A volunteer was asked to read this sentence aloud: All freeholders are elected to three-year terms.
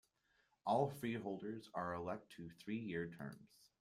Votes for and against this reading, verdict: 2, 0, accepted